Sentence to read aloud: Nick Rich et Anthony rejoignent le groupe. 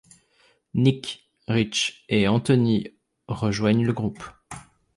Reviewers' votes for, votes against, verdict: 2, 0, accepted